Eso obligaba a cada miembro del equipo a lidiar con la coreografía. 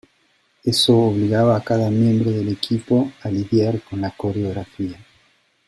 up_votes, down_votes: 2, 0